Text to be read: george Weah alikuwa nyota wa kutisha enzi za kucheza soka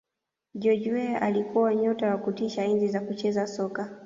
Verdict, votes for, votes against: rejected, 1, 2